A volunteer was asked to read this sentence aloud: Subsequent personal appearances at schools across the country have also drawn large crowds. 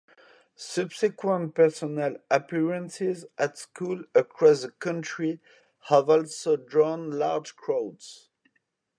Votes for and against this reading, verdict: 0, 2, rejected